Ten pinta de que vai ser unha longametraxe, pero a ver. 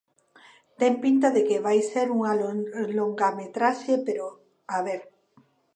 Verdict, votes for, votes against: rejected, 0, 2